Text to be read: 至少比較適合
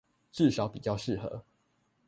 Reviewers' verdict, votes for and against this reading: accepted, 2, 0